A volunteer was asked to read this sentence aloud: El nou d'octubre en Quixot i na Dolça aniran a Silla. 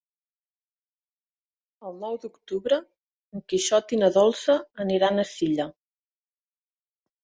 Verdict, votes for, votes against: rejected, 1, 2